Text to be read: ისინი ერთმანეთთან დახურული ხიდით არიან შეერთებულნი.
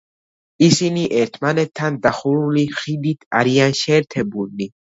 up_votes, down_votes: 2, 0